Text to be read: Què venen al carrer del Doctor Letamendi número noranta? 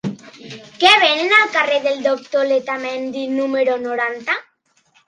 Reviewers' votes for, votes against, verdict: 3, 0, accepted